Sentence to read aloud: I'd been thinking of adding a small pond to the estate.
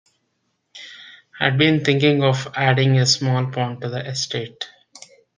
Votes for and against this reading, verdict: 2, 0, accepted